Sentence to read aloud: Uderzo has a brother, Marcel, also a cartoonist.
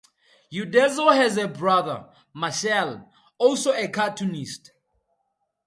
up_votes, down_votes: 2, 0